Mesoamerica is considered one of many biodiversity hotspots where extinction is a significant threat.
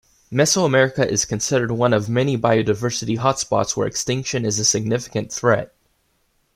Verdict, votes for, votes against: accepted, 2, 0